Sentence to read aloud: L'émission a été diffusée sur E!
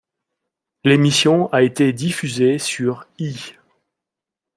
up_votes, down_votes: 1, 2